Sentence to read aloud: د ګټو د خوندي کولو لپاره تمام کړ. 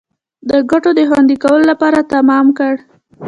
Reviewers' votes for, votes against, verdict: 1, 2, rejected